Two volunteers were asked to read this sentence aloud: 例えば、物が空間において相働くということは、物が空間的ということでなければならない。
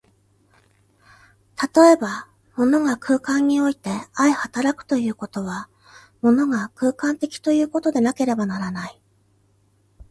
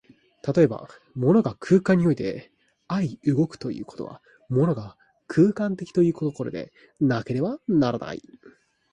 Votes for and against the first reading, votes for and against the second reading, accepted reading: 2, 0, 0, 2, first